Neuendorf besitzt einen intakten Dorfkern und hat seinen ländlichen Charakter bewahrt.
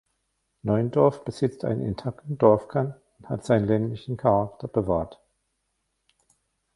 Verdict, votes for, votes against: rejected, 1, 2